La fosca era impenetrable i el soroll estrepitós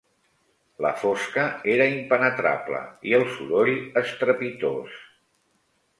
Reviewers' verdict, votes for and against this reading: accepted, 3, 0